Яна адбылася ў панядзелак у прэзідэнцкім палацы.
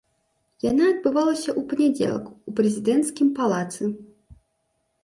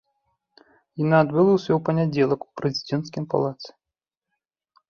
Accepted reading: second